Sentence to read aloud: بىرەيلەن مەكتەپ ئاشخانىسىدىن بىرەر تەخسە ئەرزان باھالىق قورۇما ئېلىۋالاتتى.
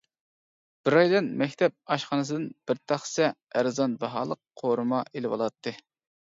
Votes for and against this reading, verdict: 1, 2, rejected